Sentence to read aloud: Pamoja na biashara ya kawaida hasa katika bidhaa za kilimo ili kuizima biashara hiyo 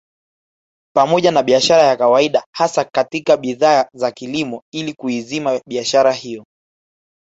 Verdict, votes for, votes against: rejected, 0, 2